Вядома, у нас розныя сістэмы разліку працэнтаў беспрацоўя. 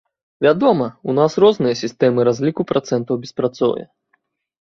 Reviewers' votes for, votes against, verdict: 2, 0, accepted